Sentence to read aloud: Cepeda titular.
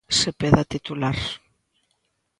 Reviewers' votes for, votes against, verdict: 0, 3, rejected